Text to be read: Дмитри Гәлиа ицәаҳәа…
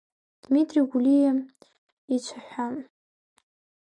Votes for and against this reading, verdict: 2, 0, accepted